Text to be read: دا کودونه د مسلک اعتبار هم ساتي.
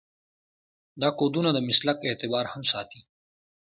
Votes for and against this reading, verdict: 2, 0, accepted